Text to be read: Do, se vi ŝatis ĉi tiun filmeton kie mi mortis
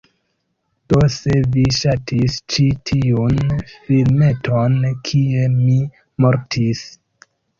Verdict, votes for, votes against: accepted, 2, 0